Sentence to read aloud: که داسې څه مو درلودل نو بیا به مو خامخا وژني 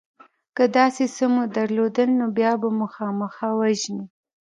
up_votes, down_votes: 1, 2